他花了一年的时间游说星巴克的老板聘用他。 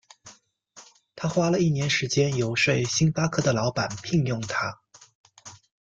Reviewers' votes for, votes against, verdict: 0, 2, rejected